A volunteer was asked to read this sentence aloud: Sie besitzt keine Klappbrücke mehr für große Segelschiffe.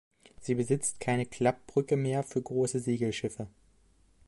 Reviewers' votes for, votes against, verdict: 2, 0, accepted